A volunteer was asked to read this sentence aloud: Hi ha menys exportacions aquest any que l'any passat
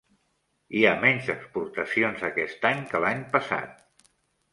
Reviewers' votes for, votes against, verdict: 3, 0, accepted